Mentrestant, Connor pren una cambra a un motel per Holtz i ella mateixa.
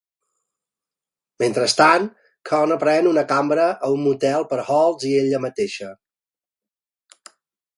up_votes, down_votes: 2, 1